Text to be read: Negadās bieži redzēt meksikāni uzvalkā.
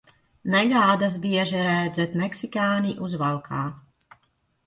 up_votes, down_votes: 1, 2